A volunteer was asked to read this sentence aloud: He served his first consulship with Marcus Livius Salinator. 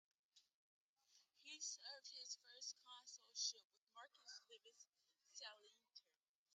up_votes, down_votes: 1, 2